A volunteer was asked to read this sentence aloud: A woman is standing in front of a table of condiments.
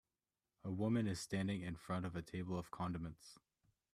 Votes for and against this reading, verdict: 2, 0, accepted